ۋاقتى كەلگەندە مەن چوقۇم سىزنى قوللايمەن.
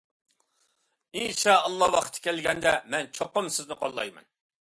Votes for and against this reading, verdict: 0, 2, rejected